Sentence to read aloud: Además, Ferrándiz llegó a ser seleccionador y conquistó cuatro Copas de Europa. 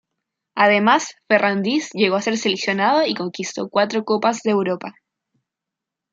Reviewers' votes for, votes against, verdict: 0, 2, rejected